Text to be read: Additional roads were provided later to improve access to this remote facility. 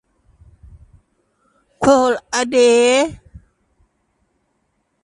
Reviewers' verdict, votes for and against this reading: rejected, 0, 2